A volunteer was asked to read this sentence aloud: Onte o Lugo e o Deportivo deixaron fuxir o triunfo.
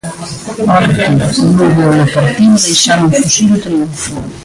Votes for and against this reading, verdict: 0, 2, rejected